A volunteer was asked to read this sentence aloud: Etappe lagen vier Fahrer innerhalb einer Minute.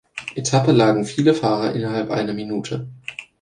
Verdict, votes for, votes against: rejected, 1, 2